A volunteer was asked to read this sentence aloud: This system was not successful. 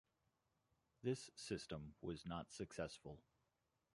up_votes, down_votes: 2, 3